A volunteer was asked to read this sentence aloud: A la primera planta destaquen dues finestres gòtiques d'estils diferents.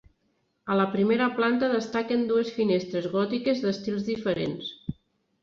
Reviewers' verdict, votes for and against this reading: accepted, 3, 0